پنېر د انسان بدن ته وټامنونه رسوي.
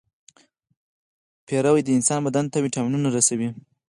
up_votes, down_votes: 4, 0